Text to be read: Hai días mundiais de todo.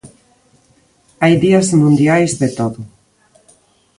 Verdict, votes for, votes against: accepted, 2, 0